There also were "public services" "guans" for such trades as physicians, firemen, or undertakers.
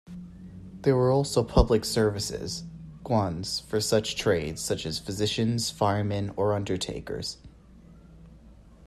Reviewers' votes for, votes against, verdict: 1, 2, rejected